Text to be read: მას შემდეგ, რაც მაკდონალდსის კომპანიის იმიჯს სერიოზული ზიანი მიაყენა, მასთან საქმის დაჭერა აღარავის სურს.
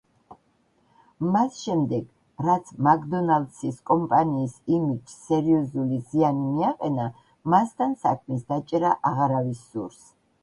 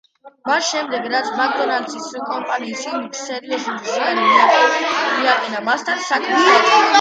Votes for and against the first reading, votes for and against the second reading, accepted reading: 2, 1, 1, 2, first